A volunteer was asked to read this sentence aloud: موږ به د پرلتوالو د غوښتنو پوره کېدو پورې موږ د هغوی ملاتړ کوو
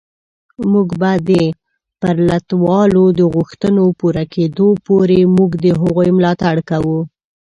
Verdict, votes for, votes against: rejected, 0, 2